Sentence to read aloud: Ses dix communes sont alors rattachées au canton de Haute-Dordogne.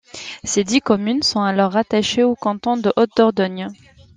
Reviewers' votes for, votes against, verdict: 2, 0, accepted